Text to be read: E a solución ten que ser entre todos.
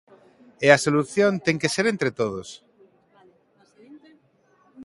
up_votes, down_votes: 2, 1